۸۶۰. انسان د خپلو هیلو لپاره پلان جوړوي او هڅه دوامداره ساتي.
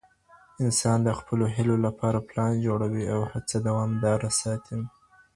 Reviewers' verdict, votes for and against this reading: rejected, 0, 2